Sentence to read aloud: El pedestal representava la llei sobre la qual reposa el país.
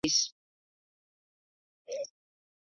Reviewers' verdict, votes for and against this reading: rejected, 0, 2